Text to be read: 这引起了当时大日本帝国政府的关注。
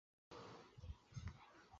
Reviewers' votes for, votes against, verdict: 0, 2, rejected